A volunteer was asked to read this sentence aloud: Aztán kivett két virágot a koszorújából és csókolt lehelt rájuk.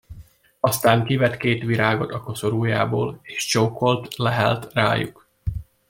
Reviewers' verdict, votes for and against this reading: rejected, 0, 2